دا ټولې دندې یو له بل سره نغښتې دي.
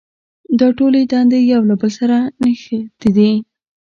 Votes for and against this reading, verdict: 1, 2, rejected